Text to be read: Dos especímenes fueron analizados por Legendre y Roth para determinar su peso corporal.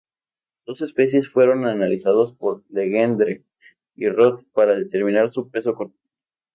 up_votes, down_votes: 0, 2